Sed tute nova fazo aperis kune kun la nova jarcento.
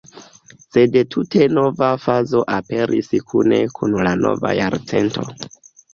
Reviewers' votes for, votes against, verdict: 1, 2, rejected